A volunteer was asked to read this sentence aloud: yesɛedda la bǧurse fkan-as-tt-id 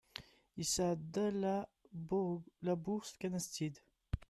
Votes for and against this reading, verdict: 0, 2, rejected